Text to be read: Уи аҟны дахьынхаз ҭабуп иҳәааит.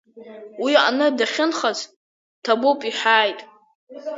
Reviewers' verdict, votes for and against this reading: accepted, 2, 1